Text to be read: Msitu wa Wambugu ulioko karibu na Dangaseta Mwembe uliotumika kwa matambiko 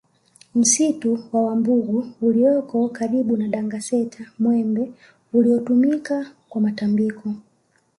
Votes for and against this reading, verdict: 1, 2, rejected